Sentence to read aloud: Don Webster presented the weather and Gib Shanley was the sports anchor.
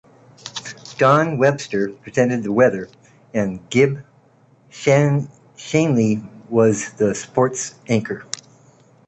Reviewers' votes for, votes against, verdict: 1, 2, rejected